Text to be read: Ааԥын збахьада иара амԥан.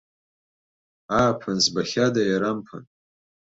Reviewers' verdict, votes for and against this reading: rejected, 0, 2